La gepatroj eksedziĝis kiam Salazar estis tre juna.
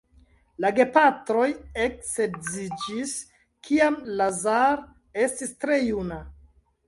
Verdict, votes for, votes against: rejected, 0, 2